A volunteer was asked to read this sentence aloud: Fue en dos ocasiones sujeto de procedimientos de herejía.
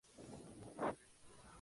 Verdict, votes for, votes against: rejected, 0, 4